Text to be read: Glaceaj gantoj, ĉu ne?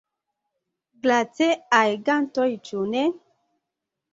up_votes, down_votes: 2, 0